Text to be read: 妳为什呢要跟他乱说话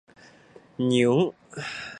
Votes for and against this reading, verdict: 0, 3, rejected